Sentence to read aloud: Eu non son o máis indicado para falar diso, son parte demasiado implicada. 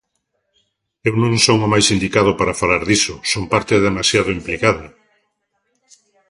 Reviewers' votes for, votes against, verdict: 2, 0, accepted